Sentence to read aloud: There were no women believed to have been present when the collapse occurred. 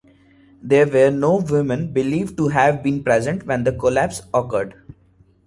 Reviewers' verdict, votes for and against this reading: accepted, 2, 1